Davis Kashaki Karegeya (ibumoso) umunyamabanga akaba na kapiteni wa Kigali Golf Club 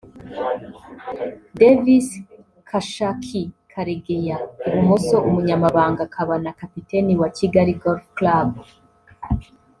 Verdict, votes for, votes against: rejected, 1, 2